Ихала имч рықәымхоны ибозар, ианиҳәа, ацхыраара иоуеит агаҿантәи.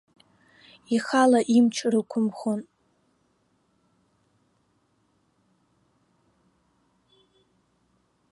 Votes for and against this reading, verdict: 0, 2, rejected